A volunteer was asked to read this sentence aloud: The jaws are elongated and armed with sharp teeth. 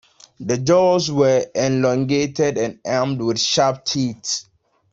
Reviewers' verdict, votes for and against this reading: rejected, 0, 2